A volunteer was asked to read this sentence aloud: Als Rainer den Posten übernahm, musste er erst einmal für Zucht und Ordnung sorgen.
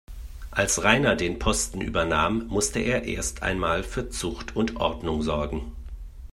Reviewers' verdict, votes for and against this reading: accepted, 2, 0